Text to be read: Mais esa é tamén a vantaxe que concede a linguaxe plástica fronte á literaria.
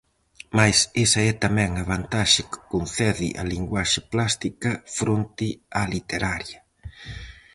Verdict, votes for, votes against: accepted, 4, 0